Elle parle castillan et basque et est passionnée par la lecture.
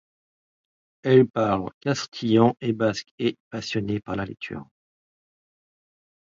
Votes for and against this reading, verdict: 1, 2, rejected